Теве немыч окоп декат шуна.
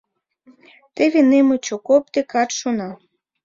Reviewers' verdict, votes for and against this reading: accepted, 2, 1